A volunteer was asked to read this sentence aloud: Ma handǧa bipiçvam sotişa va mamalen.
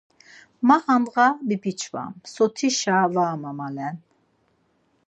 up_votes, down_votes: 4, 0